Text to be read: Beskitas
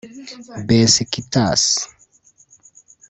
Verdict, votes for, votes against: rejected, 1, 2